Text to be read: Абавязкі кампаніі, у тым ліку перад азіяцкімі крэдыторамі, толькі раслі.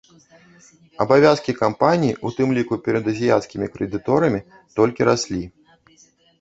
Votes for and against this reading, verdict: 0, 2, rejected